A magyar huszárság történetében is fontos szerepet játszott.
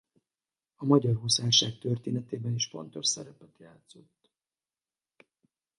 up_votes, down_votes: 2, 2